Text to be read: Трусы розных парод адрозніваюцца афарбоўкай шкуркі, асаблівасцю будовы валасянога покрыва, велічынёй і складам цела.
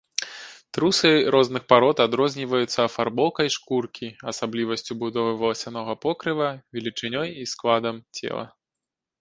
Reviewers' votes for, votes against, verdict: 2, 0, accepted